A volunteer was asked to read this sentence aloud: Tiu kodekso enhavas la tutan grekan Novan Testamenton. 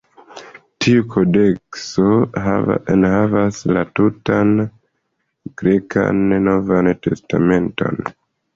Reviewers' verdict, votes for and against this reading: rejected, 0, 2